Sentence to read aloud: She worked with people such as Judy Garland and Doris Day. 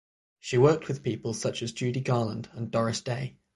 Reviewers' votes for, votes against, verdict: 3, 3, rejected